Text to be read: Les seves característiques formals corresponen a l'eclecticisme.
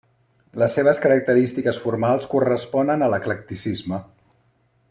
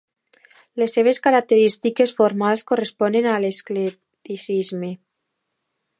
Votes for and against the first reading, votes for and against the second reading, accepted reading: 3, 0, 1, 2, first